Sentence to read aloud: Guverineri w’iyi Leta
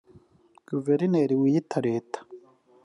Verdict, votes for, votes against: rejected, 0, 2